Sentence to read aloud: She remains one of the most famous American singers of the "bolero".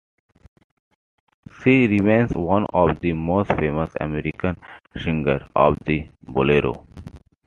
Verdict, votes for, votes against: accepted, 2, 1